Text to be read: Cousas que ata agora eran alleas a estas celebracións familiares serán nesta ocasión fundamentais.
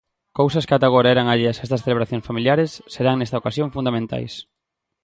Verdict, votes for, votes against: accepted, 2, 0